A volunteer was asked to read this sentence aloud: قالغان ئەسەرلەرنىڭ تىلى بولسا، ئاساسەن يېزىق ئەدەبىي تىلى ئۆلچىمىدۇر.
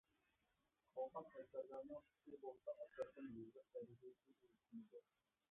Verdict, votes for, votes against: rejected, 0, 2